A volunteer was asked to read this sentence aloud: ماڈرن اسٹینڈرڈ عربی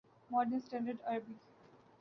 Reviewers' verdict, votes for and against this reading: accepted, 3, 0